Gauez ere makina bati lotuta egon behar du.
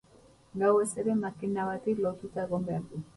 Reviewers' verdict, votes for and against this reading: accepted, 4, 0